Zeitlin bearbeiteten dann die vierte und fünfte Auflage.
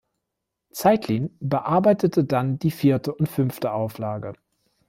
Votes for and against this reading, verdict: 0, 2, rejected